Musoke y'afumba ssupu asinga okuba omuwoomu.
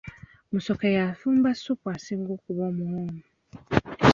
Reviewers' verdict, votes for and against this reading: accepted, 2, 0